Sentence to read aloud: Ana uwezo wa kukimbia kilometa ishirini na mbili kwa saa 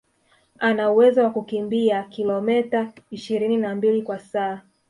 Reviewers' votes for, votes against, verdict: 2, 0, accepted